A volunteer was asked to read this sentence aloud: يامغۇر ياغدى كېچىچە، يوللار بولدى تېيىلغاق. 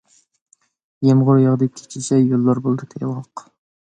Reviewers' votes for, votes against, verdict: 1, 2, rejected